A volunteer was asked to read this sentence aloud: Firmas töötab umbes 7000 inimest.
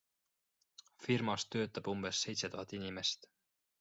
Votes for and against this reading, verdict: 0, 2, rejected